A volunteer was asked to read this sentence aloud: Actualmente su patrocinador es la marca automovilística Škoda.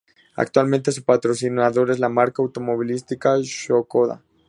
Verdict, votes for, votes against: rejected, 0, 2